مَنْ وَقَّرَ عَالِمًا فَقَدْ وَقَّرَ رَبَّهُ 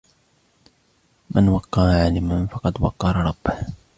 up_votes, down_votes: 2, 1